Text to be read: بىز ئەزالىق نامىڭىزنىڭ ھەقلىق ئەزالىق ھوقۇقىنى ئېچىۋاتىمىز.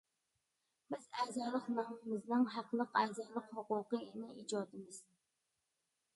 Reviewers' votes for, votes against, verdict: 0, 2, rejected